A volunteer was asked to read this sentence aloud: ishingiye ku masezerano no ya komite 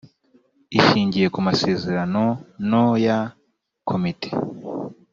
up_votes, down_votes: 2, 0